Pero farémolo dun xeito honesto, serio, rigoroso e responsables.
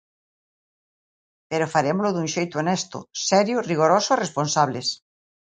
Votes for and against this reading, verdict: 2, 0, accepted